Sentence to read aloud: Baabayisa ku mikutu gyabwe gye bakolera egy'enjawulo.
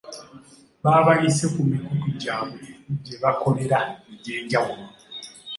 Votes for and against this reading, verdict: 2, 0, accepted